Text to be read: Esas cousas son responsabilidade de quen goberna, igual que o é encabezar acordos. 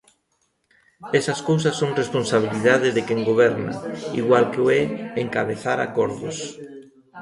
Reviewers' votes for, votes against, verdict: 0, 2, rejected